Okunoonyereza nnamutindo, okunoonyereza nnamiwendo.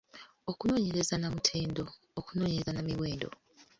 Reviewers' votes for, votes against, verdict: 0, 2, rejected